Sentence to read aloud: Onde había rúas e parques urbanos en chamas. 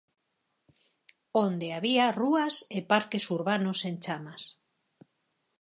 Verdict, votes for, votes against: accepted, 4, 0